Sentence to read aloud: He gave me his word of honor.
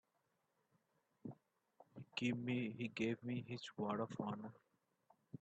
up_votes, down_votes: 3, 4